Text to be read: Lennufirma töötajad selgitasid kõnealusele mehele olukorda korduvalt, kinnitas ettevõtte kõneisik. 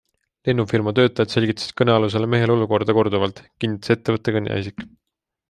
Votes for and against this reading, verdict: 2, 0, accepted